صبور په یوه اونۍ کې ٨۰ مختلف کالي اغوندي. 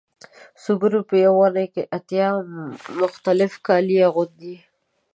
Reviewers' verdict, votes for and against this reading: rejected, 0, 2